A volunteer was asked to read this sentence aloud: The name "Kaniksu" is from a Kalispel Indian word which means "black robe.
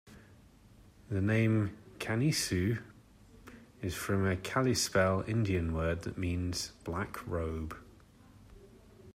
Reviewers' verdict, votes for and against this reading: accepted, 2, 1